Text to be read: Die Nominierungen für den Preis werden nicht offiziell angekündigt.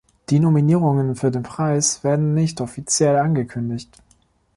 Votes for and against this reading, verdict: 2, 0, accepted